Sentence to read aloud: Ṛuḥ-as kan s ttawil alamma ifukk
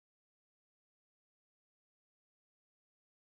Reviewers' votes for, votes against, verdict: 0, 2, rejected